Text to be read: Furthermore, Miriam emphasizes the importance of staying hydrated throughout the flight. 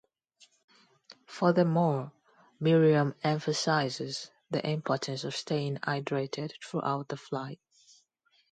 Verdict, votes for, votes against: accepted, 2, 0